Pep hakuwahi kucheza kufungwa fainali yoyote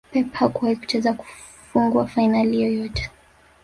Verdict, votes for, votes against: rejected, 1, 2